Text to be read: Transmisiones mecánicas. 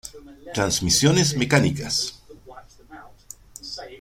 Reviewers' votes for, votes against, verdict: 2, 0, accepted